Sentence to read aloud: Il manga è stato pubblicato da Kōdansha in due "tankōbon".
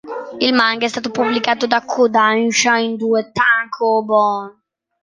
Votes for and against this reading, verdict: 3, 0, accepted